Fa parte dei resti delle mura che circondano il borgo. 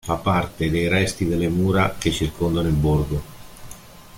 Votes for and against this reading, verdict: 2, 0, accepted